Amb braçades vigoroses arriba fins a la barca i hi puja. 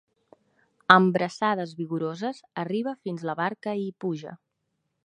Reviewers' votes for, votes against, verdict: 0, 2, rejected